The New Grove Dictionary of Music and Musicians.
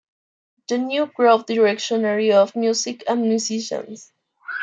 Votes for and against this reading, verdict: 3, 2, accepted